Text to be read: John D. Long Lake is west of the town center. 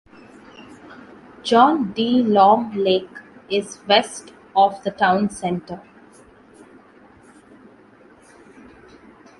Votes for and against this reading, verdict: 2, 0, accepted